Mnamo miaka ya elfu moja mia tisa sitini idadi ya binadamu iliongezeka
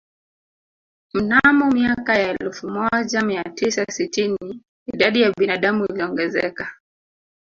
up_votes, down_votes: 0, 4